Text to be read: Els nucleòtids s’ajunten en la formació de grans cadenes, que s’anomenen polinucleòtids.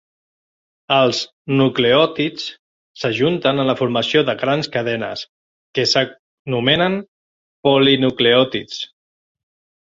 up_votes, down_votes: 1, 2